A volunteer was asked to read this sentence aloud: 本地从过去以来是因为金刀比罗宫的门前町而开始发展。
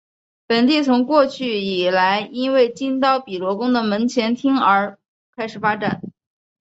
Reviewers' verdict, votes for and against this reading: accepted, 3, 0